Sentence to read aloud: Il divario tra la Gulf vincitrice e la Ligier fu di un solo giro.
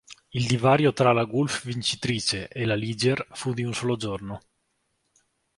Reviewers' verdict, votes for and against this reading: rejected, 1, 2